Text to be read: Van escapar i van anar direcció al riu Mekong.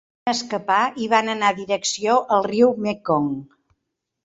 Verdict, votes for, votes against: rejected, 0, 2